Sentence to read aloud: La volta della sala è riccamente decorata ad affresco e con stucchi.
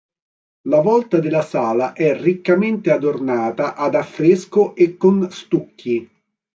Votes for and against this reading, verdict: 1, 2, rejected